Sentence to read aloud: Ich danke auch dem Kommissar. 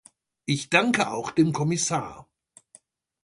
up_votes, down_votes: 2, 0